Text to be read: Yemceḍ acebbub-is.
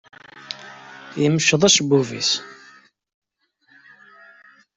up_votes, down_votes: 2, 0